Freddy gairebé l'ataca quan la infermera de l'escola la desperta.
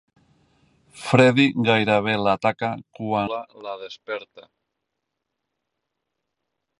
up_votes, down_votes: 0, 2